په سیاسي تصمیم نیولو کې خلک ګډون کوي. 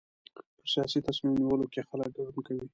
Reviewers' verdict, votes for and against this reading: rejected, 0, 2